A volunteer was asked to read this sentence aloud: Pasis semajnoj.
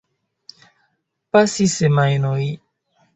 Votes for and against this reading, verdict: 2, 0, accepted